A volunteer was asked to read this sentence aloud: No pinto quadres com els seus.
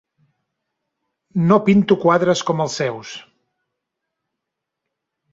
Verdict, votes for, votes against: accepted, 3, 0